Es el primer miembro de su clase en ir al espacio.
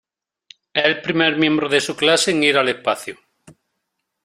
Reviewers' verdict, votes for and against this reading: accepted, 2, 0